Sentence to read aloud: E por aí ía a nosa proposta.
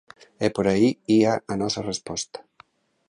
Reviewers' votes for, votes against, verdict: 1, 2, rejected